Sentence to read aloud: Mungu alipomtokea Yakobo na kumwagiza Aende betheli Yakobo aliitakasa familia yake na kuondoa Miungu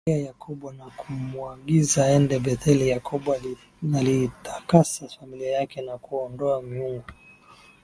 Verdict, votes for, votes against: rejected, 0, 2